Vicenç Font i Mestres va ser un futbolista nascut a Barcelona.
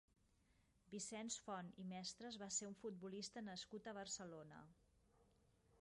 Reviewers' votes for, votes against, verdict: 1, 2, rejected